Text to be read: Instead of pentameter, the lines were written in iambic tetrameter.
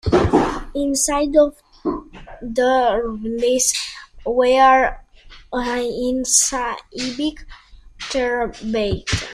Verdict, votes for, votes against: rejected, 0, 2